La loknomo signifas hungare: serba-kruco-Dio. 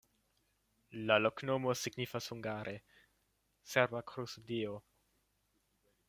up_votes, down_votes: 0, 2